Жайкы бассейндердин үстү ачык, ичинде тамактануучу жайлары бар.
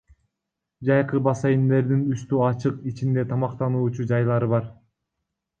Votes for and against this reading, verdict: 2, 1, accepted